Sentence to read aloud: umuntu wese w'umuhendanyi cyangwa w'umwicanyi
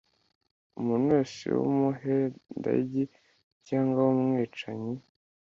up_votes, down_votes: 2, 0